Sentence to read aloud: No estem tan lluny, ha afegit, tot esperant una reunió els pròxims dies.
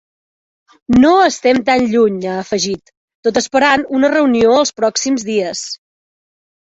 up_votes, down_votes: 3, 0